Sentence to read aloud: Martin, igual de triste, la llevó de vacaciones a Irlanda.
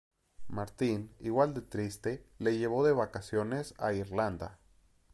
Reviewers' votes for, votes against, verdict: 0, 2, rejected